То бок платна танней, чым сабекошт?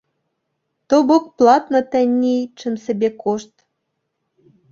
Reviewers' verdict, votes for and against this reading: accepted, 2, 0